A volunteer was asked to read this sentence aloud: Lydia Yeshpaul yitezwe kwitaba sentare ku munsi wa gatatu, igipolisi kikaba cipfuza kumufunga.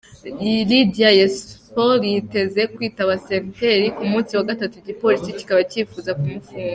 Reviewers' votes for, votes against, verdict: 1, 2, rejected